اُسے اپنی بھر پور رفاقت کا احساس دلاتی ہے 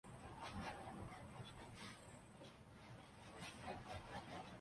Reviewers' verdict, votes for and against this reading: rejected, 0, 2